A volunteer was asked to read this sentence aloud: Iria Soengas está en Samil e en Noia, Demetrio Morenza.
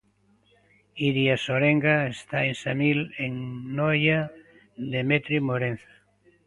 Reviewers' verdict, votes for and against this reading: rejected, 0, 2